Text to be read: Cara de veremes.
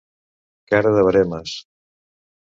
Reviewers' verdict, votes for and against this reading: accepted, 2, 0